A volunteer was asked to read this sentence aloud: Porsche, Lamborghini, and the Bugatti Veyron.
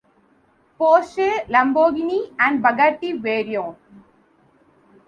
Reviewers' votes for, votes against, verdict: 0, 2, rejected